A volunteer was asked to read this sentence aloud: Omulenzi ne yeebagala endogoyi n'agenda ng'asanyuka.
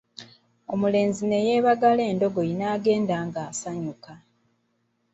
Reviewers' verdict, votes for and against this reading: accepted, 2, 1